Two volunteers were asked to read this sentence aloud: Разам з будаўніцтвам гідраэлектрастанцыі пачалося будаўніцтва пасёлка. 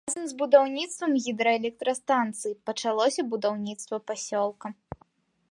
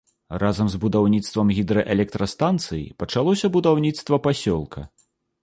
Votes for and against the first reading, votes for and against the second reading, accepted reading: 0, 2, 2, 0, second